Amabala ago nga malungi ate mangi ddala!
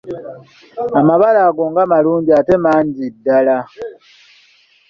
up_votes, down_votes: 2, 0